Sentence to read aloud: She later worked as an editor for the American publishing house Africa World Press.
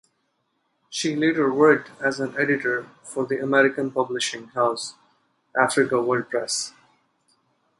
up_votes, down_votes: 4, 0